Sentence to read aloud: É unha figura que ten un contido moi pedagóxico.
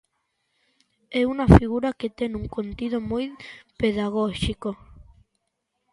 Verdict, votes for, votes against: rejected, 0, 2